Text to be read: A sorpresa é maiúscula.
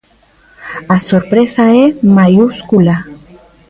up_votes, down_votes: 2, 0